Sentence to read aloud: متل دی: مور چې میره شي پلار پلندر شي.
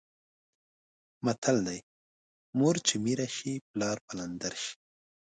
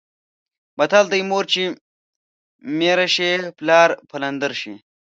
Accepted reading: first